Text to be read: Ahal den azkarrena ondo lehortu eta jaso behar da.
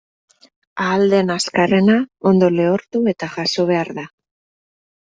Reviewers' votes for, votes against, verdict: 2, 0, accepted